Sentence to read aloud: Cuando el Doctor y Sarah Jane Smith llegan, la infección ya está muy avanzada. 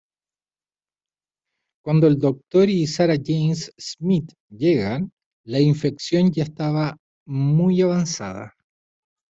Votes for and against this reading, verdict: 1, 2, rejected